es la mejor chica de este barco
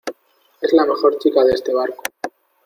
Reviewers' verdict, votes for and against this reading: accepted, 2, 0